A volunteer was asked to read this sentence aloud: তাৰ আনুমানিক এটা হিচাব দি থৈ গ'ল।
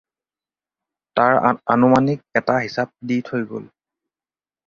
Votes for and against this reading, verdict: 2, 4, rejected